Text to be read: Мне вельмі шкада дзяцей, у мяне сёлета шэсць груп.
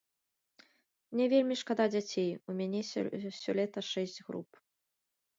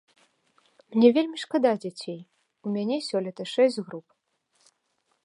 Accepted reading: second